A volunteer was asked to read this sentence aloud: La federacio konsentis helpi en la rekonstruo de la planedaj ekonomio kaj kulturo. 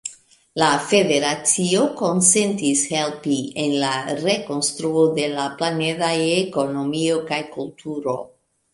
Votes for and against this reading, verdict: 2, 0, accepted